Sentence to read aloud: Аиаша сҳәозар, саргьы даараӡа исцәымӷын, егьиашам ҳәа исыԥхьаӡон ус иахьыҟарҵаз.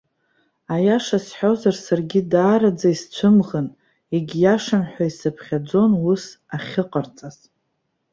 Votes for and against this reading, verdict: 1, 2, rejected